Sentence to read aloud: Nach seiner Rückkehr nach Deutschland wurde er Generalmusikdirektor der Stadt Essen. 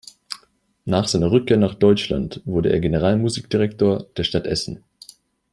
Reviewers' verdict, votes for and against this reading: accepted, 2, 0